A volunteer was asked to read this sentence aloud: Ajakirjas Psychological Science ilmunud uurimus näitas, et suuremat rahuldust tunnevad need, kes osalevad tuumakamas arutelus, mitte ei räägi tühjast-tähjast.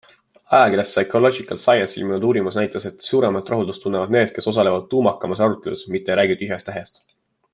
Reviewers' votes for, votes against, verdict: 2, 1, accepted